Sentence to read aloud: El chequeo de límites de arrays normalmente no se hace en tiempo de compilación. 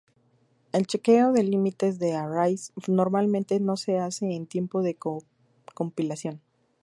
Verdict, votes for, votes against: rejected, 0, 2